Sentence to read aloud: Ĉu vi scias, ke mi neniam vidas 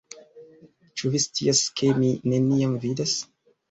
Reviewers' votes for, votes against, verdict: 2, 0, accepted